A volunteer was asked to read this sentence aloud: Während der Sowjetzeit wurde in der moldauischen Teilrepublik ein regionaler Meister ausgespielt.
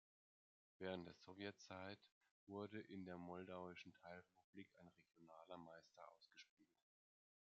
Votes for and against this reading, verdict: 1, 2, rejected